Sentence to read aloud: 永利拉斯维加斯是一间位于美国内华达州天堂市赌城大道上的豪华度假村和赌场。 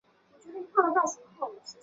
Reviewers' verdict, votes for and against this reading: rejected, 1, 2